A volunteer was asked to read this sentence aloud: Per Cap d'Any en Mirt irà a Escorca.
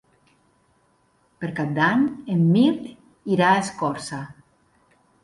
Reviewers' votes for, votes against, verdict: 2, 4, rejected